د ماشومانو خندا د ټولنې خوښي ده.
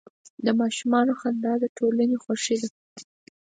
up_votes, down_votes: 4, 0